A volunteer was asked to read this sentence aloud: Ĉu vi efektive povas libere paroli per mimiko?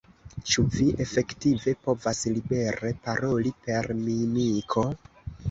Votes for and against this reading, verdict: 0, 2, rejected